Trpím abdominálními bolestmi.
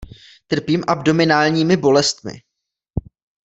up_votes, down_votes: 2, 0